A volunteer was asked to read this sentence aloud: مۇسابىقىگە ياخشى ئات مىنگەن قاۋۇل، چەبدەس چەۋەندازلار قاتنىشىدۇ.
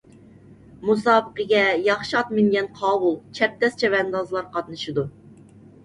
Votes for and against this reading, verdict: 2, 0, accepted